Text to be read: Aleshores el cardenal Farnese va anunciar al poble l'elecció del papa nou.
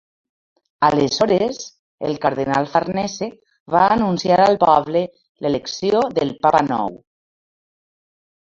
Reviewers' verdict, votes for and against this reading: rejected, 1, 2